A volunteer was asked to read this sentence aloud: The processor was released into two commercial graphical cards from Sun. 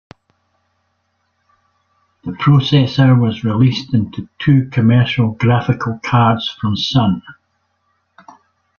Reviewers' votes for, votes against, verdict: 2, 0, accepted